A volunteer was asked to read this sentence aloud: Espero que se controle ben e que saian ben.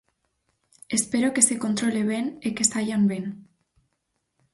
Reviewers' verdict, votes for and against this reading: accepted, 4, 0